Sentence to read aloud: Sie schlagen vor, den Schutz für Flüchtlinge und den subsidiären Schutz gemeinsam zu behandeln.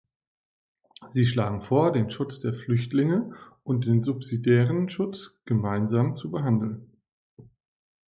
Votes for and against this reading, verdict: 0, 2, rejected